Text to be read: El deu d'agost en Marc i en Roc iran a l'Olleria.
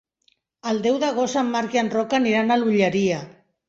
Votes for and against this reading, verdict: 0, 2, rejected